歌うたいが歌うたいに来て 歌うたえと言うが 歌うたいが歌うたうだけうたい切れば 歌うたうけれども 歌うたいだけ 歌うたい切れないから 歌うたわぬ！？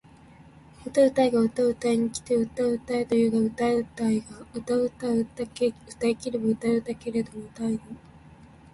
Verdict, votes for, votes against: rejected, 1, 2